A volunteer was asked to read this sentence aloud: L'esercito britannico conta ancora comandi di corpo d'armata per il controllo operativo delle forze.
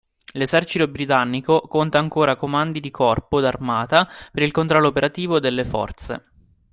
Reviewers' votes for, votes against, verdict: 2, 1, accepted